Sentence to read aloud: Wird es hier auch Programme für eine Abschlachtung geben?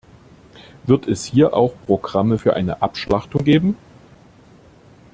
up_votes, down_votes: 2, 0